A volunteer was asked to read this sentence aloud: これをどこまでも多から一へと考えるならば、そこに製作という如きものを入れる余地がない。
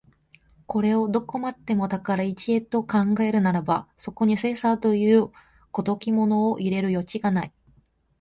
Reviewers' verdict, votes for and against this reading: rejected, 1, 2